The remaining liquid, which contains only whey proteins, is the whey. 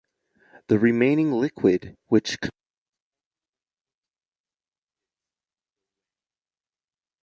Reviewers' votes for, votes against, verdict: 0, 2, rejected